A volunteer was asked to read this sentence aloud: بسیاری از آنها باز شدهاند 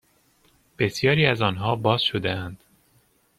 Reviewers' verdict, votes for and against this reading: accepted, 2, 0